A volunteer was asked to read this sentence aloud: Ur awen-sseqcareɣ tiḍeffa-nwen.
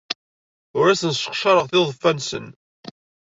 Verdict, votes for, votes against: rejected, 1, 2